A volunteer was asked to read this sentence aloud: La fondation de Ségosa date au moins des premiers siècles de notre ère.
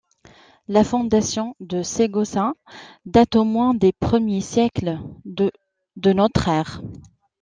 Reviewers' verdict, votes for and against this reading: rejected, 0, 2